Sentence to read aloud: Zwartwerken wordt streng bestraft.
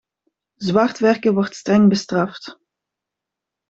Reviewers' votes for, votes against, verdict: 2, 0, accepted